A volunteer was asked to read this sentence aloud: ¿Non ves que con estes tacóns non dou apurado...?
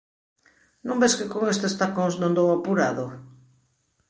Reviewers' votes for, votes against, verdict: 3, 0, accepted